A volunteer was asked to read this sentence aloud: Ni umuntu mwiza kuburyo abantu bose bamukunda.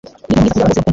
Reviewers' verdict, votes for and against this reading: rejected, 1, 2